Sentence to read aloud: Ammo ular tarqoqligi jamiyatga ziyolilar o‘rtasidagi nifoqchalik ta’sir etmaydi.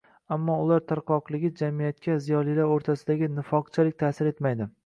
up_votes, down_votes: 2, 0